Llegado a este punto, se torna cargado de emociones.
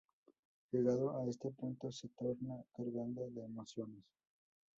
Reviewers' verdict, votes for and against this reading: rejected, 0, 4